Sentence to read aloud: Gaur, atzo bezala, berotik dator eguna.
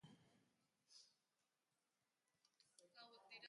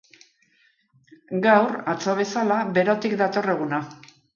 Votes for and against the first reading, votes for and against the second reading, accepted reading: 1, 2, 2, 0, second